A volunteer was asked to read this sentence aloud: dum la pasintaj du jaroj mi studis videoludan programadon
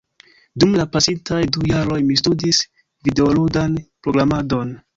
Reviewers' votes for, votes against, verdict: 3, 1, accepted